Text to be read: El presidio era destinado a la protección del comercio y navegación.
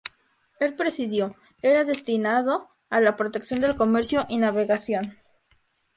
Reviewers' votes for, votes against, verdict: 0, 2, rejected